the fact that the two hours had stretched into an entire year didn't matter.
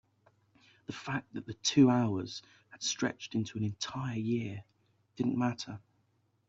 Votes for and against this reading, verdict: 52, 6, accepted